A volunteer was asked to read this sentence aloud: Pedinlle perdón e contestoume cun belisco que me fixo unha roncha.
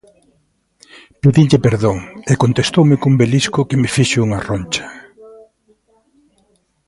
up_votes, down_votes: 0, 2